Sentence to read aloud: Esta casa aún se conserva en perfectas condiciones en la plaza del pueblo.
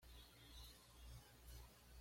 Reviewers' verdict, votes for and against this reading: rejected, 1, 2